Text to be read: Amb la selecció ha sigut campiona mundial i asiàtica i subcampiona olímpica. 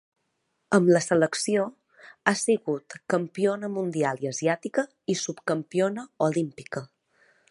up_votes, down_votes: 3, 0